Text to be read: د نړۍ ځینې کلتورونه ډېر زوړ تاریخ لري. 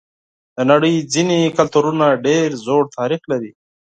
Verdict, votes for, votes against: accepted, 4, 0